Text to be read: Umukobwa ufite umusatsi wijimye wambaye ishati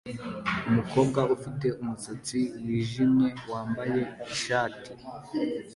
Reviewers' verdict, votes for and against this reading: accepted, 2, 0